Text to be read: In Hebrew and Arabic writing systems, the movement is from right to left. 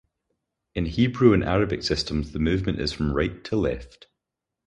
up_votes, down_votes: 0, 2